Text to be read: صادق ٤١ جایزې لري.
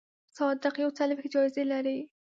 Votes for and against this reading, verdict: 0, 2, rejected